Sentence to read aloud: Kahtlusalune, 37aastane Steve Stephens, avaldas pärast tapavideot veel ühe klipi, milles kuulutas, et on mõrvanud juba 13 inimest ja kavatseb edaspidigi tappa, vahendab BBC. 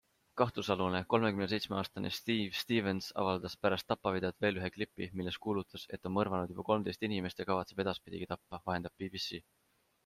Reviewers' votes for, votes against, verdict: 0, 2, rejected